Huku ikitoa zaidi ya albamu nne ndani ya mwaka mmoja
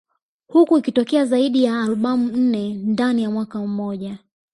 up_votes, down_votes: 2, 1